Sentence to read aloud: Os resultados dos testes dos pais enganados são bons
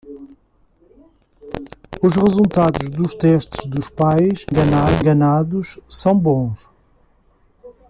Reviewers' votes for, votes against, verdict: 0, 2, rejected